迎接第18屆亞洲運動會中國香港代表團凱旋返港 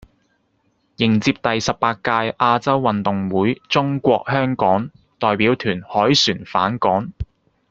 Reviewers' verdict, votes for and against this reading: rejected, 0, 2